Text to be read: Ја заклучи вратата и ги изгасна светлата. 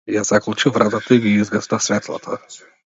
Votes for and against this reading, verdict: 2, 0, accepted